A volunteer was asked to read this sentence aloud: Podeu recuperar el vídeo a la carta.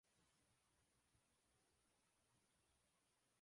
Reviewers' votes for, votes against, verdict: 0, 2, rejected